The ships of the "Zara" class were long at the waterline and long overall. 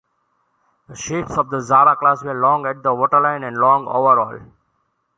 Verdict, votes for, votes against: accepted, 2, 0